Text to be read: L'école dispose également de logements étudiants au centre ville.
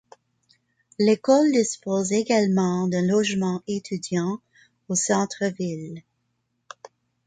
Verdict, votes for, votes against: accepted, 2, 0